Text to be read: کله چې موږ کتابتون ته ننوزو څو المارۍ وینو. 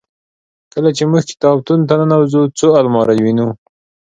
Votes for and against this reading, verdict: 2, 0, accepted